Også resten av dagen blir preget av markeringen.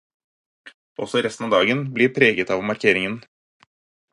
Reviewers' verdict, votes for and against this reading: accepted, 4, 0